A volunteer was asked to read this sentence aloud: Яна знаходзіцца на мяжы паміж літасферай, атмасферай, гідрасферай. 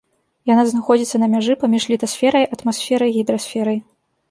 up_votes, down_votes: 3, 0